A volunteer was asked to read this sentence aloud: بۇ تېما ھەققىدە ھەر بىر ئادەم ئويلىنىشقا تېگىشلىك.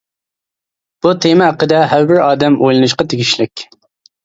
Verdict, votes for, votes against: accepted, 2, 0